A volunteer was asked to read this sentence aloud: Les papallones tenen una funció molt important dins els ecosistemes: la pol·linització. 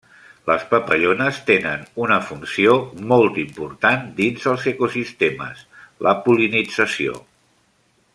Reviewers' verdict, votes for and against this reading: accepted, 3, 0